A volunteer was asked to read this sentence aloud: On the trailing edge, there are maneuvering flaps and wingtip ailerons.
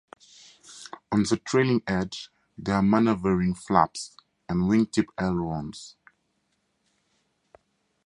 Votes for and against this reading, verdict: 4, 0, accepted